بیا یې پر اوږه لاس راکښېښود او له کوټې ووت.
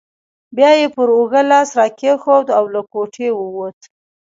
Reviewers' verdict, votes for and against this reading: rejected, 0, 2